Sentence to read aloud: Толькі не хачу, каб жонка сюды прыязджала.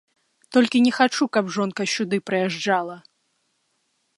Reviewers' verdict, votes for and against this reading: rejected, 0, 2